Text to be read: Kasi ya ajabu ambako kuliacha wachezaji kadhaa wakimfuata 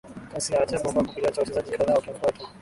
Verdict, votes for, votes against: rejected, 0, 3